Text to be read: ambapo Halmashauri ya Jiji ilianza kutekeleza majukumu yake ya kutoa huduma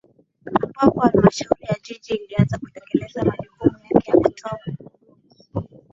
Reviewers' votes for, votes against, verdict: 0, 2, rejected